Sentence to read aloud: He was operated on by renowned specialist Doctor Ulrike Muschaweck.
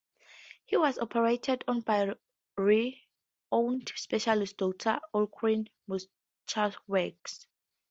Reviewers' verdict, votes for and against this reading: rejected, 0, 2